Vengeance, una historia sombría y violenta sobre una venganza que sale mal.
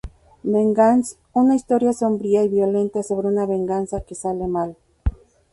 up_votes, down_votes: 0, 2